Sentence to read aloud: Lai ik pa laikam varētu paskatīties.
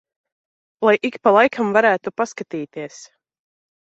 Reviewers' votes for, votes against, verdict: 2, 0, accepted